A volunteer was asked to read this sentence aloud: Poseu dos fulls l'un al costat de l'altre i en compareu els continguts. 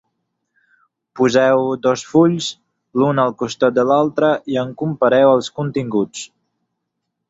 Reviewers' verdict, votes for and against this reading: accepted, 15, 0